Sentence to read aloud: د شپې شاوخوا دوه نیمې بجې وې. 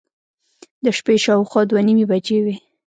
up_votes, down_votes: 1, 2